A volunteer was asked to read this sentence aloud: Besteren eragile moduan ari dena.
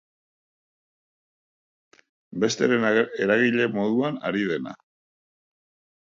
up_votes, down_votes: 0, 2